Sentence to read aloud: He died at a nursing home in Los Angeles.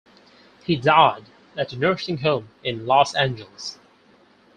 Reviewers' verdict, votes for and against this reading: accepted, 4, 0